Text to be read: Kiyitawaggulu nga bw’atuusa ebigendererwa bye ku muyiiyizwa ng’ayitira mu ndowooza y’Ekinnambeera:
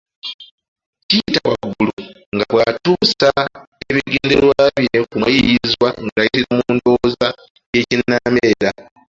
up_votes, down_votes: 1, 2